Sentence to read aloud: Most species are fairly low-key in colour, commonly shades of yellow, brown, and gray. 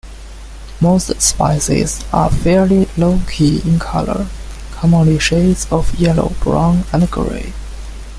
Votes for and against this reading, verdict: 1, 2, rejected